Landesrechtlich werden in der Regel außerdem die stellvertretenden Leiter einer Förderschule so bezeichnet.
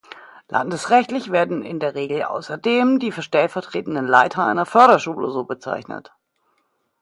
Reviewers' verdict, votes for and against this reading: rejected, 0, 2